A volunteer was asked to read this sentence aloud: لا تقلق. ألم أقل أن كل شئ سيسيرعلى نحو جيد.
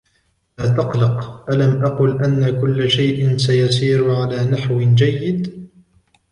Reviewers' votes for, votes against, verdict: 2, 1, accepted